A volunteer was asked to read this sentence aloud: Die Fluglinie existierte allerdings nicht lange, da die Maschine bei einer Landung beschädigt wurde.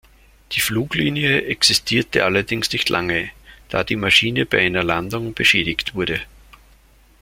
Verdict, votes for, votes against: accepted, 2, 0